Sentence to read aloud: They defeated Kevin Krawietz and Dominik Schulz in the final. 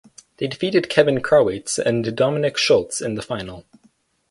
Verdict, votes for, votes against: accepted, 4, 0